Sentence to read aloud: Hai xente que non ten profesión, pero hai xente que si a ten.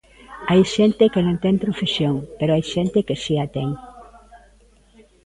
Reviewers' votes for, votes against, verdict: 0, 2, rejected